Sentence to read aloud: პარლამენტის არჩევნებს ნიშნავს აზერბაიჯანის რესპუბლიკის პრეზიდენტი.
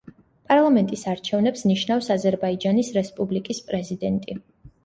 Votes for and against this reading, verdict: 2, 0, accepted